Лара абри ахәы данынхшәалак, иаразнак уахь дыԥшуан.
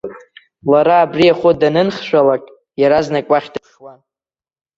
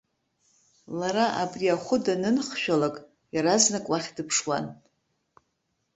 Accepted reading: second